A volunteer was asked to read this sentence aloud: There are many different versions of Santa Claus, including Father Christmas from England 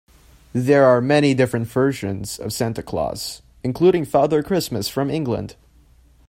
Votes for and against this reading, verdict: 3, 0, accepted